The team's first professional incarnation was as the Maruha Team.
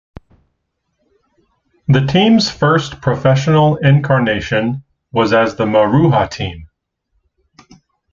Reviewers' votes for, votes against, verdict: 2, 0, accepted